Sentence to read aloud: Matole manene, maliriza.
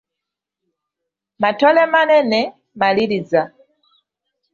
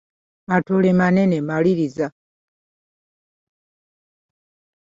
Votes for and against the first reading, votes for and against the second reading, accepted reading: 2, 0, 1, 2, first